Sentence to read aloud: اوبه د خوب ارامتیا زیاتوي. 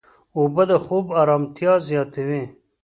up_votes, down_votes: 3, 0